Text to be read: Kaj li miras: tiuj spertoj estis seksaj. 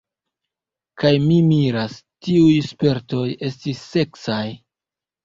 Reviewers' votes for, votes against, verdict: 2, 1, accepted